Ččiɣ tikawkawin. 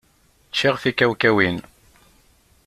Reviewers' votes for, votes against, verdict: 2, 0, accepted